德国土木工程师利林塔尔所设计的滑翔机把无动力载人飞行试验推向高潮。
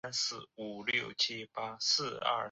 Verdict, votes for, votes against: rejected, 0, 3